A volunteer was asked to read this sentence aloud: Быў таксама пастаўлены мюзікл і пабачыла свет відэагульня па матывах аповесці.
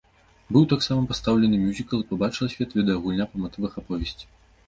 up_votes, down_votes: 2, 0